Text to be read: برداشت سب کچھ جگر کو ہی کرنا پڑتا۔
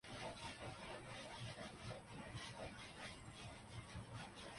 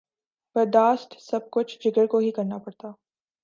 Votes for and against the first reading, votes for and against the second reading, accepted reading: 0, 5, 3, 0, second